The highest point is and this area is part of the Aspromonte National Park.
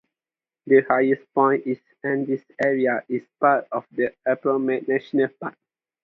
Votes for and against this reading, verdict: 2, 2, rejected